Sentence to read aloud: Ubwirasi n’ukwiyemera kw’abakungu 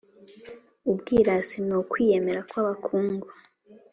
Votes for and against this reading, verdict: 2, 0, accepted